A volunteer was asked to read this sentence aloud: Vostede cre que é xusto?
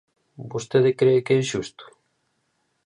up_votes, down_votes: 2, 0